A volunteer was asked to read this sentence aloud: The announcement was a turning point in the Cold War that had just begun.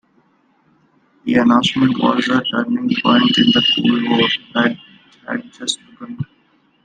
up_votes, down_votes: 1, 2